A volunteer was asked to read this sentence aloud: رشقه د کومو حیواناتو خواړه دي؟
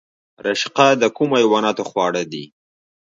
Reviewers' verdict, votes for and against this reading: accepted, 2, 1